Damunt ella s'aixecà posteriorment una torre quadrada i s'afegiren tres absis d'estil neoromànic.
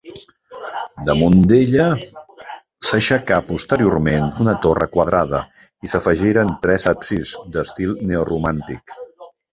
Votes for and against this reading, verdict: 1, 2, rejected